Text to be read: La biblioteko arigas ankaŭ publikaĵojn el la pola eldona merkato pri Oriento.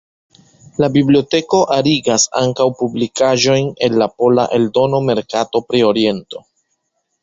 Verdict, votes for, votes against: rejected, 1, 2